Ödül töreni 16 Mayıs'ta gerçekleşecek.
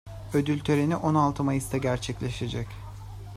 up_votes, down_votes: 0, 2